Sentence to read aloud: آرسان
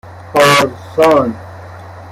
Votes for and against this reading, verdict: 0, 3, rejected